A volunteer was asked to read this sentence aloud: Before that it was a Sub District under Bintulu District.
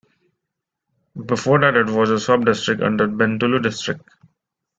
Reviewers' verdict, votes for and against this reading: rejected, 1, 2